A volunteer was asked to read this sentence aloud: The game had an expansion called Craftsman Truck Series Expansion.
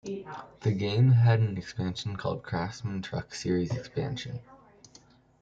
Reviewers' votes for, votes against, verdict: 0, 2, rejected